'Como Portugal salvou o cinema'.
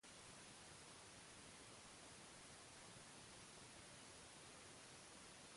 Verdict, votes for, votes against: rejected, 0, 2